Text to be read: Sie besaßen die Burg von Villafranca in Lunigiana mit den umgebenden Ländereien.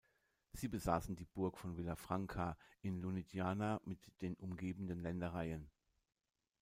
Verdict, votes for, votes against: accepted, 2, 0